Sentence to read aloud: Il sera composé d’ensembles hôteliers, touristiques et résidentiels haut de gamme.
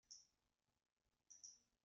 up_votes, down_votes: 0, 2